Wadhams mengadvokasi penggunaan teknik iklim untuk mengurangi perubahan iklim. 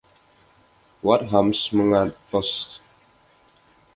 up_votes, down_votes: 0, 2